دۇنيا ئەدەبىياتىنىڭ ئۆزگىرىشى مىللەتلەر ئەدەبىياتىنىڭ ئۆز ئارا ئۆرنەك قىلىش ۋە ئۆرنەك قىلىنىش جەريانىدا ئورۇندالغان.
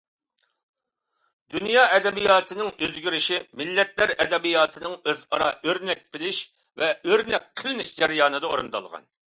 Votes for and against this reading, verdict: 2, 0, accepted